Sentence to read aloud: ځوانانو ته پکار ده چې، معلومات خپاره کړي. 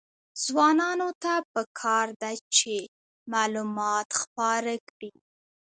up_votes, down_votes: 2, 1